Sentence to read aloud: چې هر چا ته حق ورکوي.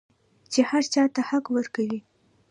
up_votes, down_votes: 1, 2